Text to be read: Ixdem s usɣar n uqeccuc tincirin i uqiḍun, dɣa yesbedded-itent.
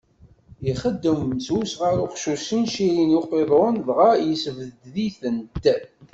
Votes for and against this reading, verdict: 1, 2, rejected